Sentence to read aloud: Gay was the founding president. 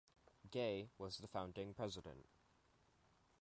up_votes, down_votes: 2, 0